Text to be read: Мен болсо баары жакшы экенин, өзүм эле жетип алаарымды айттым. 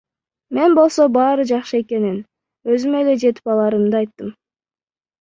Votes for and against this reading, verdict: 0, 2, rejected